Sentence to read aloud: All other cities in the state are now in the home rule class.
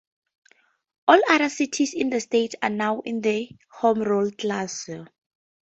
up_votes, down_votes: 2, 0